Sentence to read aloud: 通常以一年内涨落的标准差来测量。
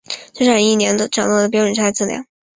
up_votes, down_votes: 0, 2